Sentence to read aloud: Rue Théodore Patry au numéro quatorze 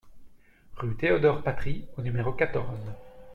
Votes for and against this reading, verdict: 2, 0, accepted